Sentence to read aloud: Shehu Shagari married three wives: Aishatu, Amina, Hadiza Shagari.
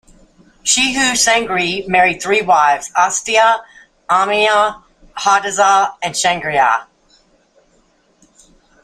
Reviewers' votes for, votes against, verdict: 0, 2, rejected